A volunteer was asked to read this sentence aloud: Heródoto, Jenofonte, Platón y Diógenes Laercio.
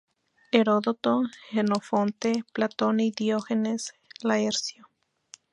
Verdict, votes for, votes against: rejected, 0, 2